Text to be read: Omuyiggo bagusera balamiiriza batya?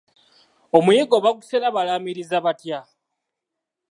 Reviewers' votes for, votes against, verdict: 2, 0, accepted